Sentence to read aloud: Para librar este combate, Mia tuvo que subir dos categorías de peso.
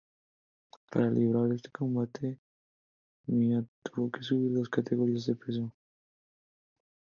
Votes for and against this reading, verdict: 2, 0, accepted